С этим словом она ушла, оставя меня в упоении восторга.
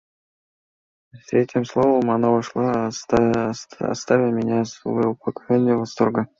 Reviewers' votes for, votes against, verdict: 1, 2, rejected